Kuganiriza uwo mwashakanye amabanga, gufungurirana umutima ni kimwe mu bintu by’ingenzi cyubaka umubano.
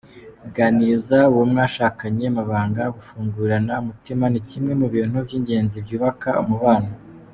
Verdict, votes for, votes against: accepted, 2, 1